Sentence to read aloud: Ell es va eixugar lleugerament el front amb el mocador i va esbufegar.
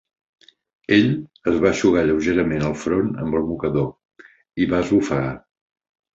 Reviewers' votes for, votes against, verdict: 2, 0, accepted